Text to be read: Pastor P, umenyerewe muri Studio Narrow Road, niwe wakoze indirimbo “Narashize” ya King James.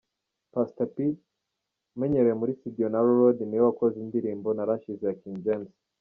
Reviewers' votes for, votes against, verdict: 2, 0, accepted